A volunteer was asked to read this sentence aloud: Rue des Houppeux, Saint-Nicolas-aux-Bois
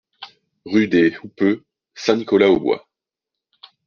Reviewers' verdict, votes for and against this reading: accepted, 2, 1